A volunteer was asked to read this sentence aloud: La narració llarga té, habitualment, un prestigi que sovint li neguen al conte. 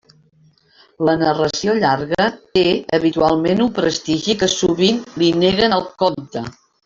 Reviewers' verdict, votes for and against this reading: rejected, 0, 2